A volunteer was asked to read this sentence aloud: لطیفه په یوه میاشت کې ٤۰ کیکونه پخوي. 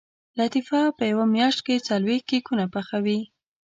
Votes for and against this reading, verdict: 0, 2, rejected